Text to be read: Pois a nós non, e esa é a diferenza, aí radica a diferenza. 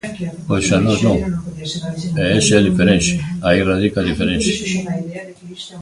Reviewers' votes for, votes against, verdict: 1, 2, rejected